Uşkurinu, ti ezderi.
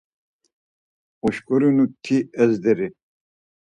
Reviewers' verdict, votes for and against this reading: accepted, 4, 0